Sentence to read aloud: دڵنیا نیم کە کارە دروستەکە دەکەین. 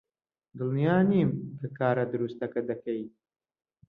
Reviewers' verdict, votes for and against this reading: accepted, 2, 0